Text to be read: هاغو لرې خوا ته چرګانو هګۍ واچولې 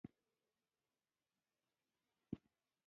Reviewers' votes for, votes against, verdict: 0, 2, rejected